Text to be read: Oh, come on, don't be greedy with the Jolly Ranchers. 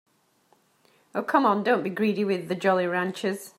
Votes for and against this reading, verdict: 4, 0, accepted